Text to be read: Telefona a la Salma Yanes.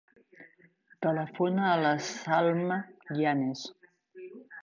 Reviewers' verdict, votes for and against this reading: accepted, 2, 0